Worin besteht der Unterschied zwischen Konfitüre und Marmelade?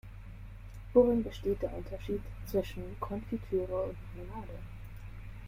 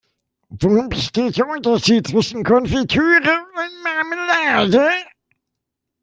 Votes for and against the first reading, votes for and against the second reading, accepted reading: 2, 0, 1, 2, first